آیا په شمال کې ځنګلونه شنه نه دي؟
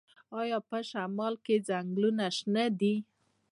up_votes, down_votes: 1, 2